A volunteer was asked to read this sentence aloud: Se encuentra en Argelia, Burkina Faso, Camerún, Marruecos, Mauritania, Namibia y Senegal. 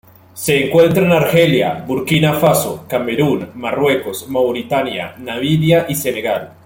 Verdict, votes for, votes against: accepted, 2, 0